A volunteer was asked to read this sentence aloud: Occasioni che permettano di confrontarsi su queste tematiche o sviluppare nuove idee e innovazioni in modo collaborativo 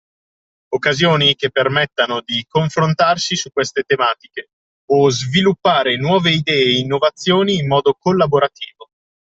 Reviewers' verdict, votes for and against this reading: accepted, 2, 0